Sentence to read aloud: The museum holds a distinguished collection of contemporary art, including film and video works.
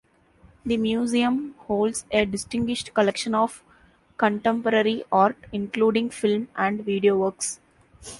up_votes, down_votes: 2, 0